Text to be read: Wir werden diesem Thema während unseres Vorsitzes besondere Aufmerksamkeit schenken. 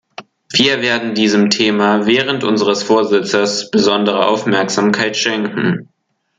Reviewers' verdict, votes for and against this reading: accepted, 2, 0